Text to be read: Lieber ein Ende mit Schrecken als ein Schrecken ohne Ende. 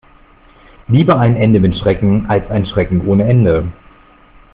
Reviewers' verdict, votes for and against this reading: accepted, 2, 0